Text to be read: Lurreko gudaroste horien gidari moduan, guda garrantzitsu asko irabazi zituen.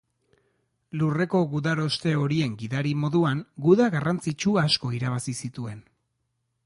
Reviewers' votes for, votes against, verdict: 2, 0, accepted